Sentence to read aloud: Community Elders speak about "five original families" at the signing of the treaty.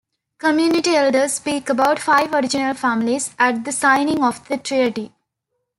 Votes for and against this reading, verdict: 2, 1, accepted